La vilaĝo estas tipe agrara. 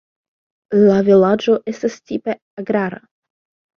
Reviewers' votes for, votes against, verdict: 2, 0, accepted